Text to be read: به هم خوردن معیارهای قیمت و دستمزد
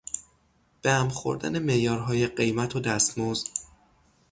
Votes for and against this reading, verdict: 3, 0, accepted